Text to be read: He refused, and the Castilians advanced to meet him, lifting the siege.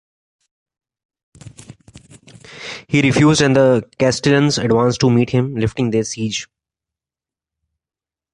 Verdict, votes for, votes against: accepted, 2, 0